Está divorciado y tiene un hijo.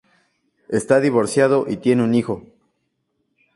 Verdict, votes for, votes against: accepted, 2, 0